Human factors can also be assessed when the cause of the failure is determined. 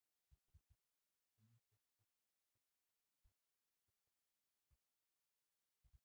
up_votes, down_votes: 0, 2